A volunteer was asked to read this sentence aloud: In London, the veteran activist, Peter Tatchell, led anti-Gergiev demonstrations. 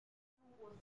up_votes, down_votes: 0, 2